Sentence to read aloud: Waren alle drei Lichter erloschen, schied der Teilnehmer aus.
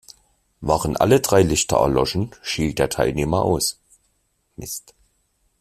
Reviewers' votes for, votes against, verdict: 1, 2, rejected